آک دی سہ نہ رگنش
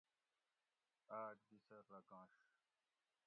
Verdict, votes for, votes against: rejected, 0, 2